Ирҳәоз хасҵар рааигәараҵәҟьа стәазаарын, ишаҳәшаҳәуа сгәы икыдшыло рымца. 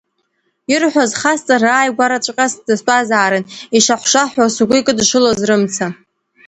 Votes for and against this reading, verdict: 1, 2, rejected